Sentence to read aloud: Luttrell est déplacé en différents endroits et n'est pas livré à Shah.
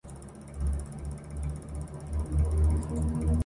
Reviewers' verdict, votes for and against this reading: rejected, 0, 2